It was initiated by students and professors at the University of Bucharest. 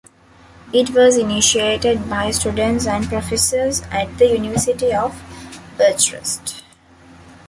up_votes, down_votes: 1, 2